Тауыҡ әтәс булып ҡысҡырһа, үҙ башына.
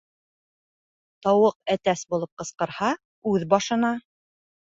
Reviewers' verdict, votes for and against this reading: accepted, 2, 0